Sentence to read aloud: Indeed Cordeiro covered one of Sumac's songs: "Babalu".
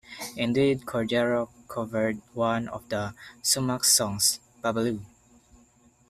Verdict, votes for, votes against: rejected, 0, 2